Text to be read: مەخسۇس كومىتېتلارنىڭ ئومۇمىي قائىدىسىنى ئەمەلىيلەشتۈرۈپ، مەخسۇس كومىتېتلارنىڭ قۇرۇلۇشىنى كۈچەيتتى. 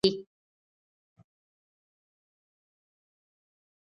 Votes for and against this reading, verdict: 0, 2, rejected